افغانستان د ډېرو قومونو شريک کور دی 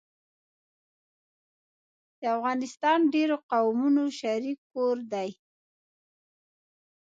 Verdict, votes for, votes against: accepted, 2, 0